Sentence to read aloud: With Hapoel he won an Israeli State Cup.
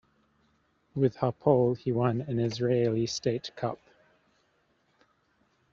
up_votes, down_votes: 2, 0